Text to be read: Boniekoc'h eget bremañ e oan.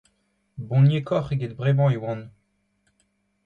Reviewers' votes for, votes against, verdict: 2, 0, accepted